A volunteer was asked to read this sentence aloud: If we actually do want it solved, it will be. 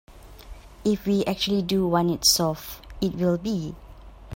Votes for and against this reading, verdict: 2, 0, accepted